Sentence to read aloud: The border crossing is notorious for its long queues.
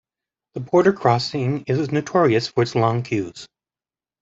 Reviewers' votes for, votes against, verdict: 2, 1, accepted